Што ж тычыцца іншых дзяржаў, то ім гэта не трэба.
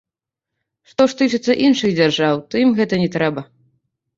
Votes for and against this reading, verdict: 1, 2, rejected